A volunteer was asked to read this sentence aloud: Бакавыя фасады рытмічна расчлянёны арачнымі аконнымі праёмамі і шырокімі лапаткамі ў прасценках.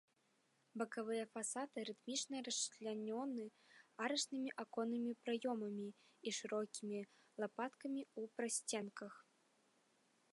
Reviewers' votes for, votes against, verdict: 2, 0, accepted